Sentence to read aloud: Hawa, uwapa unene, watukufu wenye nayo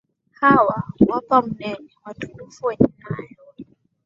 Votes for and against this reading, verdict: 2, 3, rejected